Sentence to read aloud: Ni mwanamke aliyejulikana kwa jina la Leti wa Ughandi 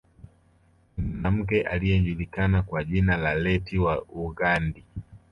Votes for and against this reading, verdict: 1, 2, rejected